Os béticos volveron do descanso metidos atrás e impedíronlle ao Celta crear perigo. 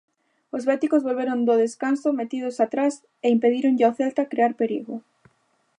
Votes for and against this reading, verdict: 2, 0, accepted